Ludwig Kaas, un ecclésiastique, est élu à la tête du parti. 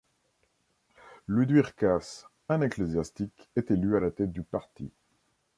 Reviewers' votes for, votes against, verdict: 1, 2, rejected